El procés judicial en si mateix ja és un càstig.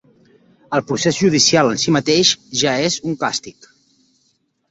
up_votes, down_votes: 3, 0